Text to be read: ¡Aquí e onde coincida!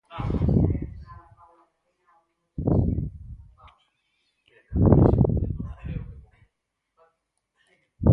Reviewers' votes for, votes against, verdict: 0, 4, rejected